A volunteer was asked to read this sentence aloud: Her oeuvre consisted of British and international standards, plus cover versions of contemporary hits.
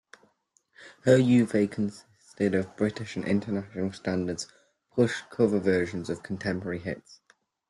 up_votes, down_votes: 2, 1